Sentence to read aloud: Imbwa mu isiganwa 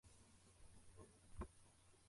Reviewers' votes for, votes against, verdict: 0, 2, rejected